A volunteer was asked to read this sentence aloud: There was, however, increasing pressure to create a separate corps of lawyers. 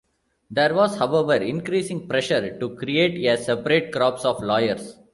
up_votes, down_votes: 0, 2